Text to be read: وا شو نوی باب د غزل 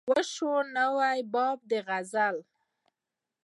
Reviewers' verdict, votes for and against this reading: accepted, 2, 0